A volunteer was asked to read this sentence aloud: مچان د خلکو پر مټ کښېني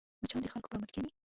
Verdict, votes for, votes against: rejected, 1, 2